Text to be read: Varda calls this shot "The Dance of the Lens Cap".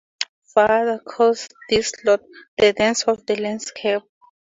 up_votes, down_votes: 0, 2